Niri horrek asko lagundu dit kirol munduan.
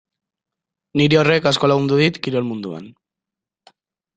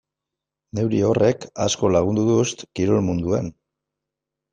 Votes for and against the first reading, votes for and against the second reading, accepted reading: 2, 0, 1, 2, first